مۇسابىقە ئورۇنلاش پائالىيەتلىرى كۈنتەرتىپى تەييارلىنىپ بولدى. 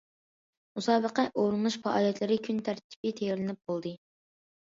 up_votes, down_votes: 2, 0